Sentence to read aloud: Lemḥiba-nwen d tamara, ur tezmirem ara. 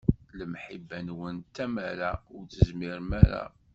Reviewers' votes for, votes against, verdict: 2, 0, accepted